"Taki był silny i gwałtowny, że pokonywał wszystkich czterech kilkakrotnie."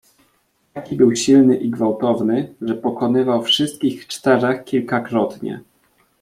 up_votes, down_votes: 1, 2